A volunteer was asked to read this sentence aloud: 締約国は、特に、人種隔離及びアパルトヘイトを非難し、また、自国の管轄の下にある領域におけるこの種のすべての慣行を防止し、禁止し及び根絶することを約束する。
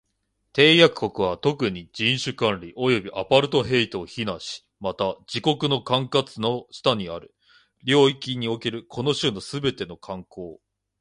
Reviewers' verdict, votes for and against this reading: rejected, 1, 2